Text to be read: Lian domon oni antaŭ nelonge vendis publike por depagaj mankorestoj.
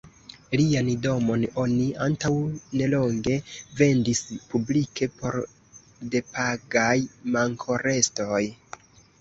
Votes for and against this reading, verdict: 0, 2, rejected